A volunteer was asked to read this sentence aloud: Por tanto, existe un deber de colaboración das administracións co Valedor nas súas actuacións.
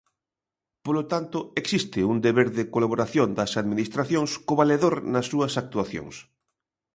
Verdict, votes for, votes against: rejected, 0, 2